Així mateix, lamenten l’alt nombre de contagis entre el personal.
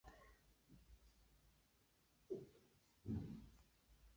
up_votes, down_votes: 0, 2